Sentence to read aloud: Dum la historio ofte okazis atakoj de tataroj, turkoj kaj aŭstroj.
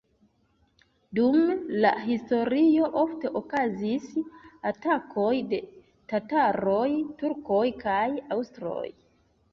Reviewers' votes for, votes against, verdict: 0, 2, rejected